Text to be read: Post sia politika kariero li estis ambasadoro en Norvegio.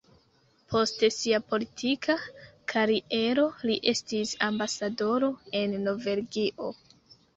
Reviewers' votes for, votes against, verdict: 0, 2, rejected